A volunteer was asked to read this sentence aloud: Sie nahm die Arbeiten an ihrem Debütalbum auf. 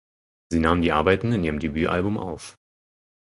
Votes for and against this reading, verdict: 0, 4, rejected